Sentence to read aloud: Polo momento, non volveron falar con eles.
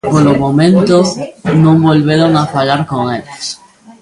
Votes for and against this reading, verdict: 2, 0, accepted